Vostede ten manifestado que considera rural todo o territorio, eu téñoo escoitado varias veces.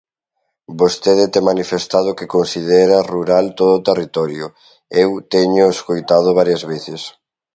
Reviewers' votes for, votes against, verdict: 2, 0, accepted